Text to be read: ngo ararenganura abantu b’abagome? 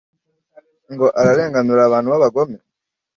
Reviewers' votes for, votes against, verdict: 2, 0, accepted